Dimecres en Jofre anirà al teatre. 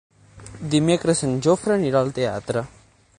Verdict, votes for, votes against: accepted, 9, 0